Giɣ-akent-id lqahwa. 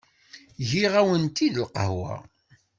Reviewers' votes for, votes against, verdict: 1, 2, rejected